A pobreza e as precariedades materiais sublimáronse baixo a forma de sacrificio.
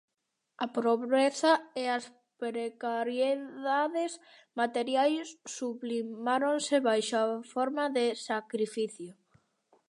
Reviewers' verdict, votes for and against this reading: rejected, 0, 2